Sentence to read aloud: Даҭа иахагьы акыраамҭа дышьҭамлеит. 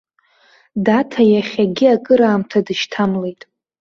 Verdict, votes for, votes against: rejected, 0, 3